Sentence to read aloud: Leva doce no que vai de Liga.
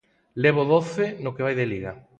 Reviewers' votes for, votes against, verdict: 2, 4, rejected